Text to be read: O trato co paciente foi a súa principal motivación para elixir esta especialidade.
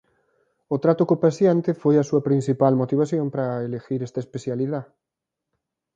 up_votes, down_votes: 0, 2